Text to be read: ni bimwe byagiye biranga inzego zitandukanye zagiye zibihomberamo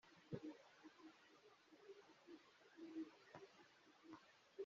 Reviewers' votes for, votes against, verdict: 1, 2, rejected